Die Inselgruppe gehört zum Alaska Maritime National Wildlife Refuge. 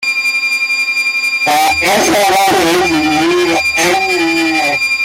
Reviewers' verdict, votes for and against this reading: rejected, 0, 2